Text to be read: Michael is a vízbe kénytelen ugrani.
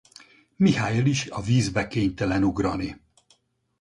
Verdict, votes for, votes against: accepted, 4, 2